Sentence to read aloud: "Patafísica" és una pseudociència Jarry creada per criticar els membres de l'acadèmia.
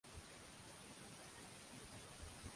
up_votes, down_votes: 0, 2